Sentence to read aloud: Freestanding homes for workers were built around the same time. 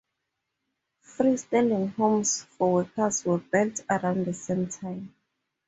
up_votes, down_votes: 2, 0